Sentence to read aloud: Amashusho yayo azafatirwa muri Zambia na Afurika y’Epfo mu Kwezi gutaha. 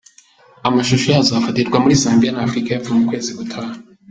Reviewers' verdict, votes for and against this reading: accepted, 2, 0